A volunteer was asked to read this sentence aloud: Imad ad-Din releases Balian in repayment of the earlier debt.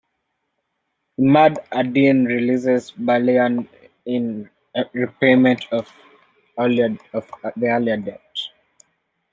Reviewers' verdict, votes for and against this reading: rejected, 0, 2